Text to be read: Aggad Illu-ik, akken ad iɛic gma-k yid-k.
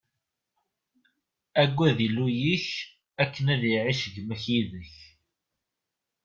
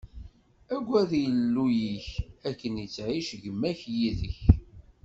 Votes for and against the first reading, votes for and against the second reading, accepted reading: 2, 0, 0, 2, first